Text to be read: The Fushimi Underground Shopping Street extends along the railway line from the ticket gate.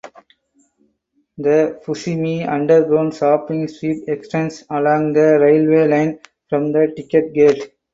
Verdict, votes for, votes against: accepted, 2, 0